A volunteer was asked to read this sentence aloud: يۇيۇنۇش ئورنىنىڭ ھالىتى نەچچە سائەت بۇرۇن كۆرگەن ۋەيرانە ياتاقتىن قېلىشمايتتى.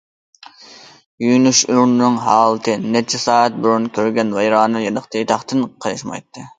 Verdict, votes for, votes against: rejected, 1, 2